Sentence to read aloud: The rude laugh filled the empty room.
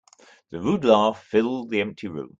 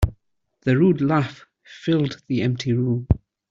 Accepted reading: second